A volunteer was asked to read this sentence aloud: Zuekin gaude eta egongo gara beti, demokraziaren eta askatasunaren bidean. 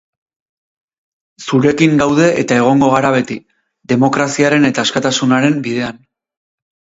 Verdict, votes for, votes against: rejected, 2, 4